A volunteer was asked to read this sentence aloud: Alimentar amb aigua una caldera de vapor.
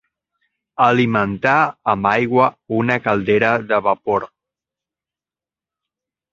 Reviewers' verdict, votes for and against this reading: accepted, 3, 0